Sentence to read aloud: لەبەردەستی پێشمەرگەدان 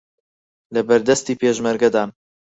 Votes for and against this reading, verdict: 4, 0, accepted